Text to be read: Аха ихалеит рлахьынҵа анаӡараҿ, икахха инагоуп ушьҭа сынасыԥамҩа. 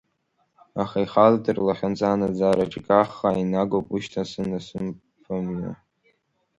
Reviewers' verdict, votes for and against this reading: rejected, 1, 2